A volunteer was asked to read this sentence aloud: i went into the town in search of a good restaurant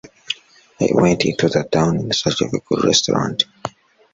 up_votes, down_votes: 1, 2